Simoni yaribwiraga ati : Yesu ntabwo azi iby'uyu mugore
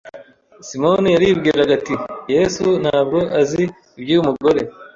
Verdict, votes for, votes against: accepted, 2, 0